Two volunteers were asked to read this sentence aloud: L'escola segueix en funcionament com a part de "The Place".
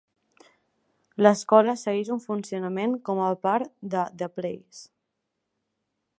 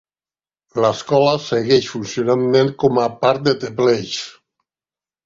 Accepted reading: first